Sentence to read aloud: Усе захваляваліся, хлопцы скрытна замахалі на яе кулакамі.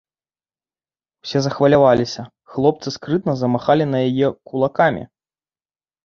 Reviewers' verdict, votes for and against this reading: accepted, 2, 0